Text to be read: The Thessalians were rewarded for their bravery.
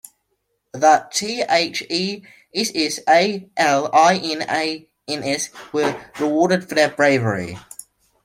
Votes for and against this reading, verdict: 0, 2, rejected